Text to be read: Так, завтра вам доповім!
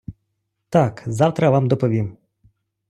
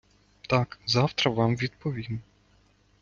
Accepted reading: first